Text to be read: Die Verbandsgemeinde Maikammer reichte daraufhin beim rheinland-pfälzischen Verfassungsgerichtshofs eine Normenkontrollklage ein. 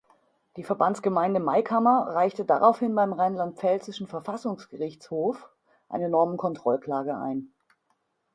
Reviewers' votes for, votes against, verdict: 2, 0, accepted